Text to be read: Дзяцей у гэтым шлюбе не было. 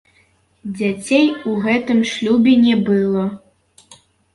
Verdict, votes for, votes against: rejected, 0, 2